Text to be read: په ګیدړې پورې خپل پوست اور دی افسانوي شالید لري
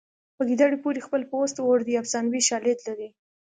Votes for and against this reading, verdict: 2, 0, accepted